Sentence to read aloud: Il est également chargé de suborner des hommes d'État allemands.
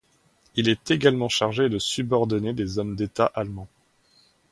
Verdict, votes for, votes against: rejected, 1, 2